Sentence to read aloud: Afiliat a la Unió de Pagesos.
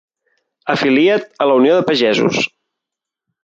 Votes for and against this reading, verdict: 1, 2, rejected